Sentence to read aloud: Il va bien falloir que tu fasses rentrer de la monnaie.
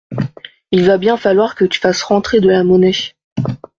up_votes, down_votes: 2, 0